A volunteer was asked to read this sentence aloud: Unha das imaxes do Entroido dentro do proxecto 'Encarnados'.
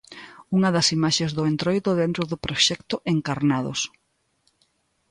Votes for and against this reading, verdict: 2, 0, accepted